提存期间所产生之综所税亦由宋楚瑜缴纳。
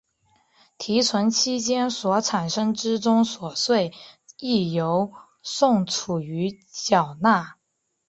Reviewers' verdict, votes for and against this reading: accepted, 2, 0